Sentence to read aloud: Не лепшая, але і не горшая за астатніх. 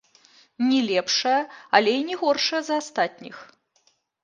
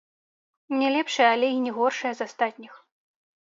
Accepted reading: first